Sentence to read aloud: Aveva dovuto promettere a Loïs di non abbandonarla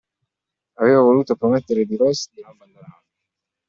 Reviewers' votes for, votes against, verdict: 0, 2, rejected